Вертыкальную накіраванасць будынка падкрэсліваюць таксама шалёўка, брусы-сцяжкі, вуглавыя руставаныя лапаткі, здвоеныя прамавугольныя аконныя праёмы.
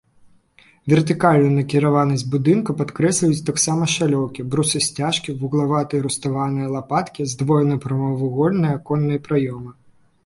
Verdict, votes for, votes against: rejected, 0, 2